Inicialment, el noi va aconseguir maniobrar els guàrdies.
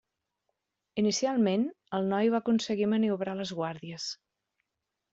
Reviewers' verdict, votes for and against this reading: rejected, 1, 2